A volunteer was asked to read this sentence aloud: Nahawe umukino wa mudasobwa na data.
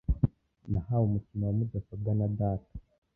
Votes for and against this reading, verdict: 1, 2, rejected